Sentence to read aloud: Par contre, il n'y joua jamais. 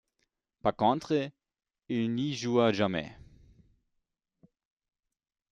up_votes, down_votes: 2, 0